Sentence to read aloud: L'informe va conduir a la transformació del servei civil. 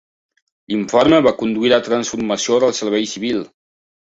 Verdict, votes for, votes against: rejected, 1, 2